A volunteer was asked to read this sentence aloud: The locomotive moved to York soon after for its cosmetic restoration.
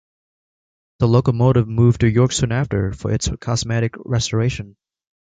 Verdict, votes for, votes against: accepted, 3, 0